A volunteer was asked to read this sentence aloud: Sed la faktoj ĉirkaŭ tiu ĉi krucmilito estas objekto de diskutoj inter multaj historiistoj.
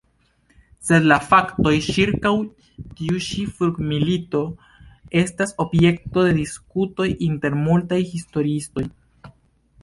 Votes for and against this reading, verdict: 1, 2, rejected